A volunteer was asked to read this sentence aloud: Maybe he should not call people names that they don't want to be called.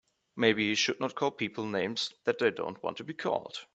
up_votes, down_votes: 3, 0